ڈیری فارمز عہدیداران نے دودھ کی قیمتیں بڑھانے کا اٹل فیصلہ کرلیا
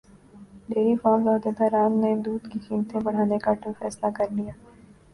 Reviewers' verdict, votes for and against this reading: accepted, 2, 1